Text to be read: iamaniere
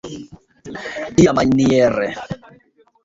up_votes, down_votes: 0, 2